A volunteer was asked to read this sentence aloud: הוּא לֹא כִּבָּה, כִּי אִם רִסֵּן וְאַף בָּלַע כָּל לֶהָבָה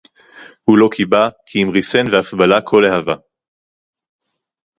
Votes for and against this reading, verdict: 2, 2, rejected